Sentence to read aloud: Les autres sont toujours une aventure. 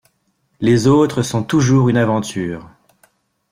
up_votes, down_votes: 2, 0